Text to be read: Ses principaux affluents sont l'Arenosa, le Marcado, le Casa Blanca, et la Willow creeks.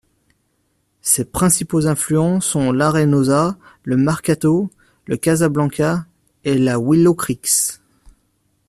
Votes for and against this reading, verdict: 0, 2, rejected